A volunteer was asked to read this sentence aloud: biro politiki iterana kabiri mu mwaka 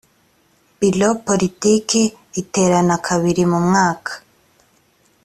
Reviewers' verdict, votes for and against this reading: accepted, 2, 0